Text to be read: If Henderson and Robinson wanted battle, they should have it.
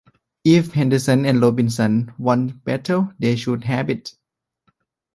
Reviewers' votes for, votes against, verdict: 2, 1, accepted